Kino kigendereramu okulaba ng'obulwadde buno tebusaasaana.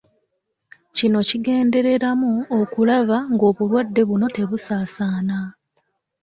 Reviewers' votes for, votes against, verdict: 2, 0, accepted